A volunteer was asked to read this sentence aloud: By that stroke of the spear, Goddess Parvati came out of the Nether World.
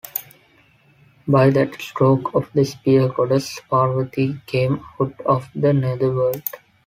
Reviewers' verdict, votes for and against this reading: accepted, 2, 0